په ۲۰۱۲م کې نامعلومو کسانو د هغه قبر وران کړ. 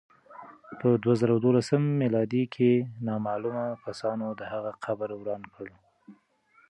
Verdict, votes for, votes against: rejected, 0, 2